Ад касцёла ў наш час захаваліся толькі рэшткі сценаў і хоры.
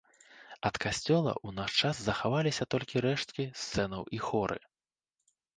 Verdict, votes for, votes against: rejected, 0, 2